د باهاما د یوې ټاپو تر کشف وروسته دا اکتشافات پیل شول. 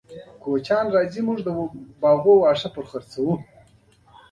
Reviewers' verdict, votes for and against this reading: accepted, 2, 0